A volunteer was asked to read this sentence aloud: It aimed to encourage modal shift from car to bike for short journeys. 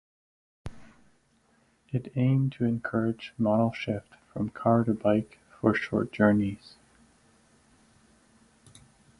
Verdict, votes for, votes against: accepted, 4, 0